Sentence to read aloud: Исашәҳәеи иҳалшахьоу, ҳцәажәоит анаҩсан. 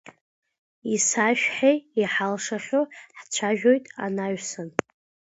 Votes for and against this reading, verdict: 2, 0, accepted